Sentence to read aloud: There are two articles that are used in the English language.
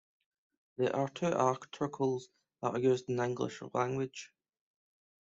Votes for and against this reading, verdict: 2, 1, accepted